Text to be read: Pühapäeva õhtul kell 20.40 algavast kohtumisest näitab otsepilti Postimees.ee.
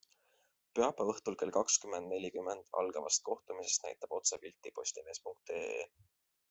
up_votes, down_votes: 0, 2